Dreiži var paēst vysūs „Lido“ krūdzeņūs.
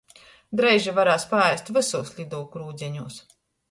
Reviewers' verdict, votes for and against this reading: rejected, 0, 2